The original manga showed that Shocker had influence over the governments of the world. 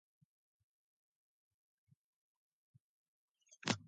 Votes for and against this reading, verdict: 0, 2, rejected